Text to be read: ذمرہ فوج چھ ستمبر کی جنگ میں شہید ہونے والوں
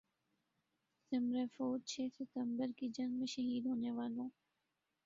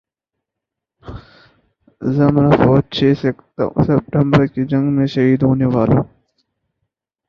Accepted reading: first